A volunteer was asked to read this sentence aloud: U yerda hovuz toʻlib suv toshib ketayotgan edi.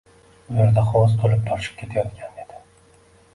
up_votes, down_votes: 1, 2